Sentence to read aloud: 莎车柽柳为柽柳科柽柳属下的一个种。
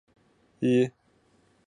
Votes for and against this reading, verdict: 1, 2, rejected